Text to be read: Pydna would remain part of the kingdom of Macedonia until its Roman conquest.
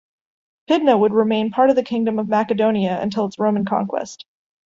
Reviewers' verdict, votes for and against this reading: rejected, 0, 2